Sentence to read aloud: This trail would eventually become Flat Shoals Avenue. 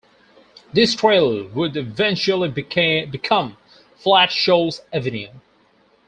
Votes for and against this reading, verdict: 0, 2, rejected